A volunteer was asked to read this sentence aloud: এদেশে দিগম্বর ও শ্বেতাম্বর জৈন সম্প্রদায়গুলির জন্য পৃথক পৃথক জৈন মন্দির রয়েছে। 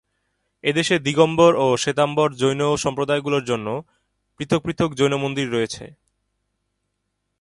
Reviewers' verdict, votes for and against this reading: accepted, 2, 0